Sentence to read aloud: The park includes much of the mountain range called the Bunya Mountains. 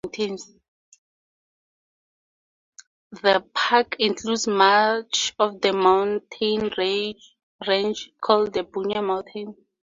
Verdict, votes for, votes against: accepted, 4, 2